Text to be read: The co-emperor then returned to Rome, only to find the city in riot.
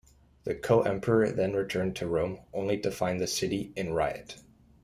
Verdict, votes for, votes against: accepted, 2, 0